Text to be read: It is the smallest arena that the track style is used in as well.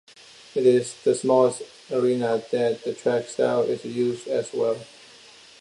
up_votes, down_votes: 0, 2